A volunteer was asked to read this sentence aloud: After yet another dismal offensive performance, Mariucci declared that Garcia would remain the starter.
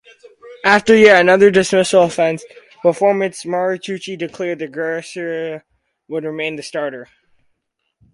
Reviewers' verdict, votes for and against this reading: rejected, 2, 4